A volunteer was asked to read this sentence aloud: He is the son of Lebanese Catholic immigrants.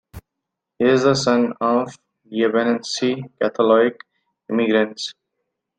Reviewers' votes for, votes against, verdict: 1, 2, rejected